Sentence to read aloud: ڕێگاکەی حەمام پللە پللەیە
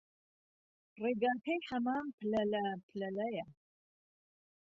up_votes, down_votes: 1, 2